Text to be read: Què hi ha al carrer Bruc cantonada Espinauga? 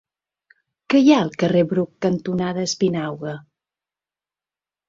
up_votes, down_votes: 2, 0